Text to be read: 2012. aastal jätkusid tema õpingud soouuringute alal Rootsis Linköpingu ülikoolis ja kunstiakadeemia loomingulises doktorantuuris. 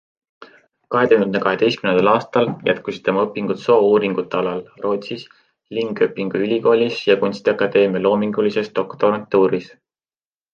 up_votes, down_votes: 0, 2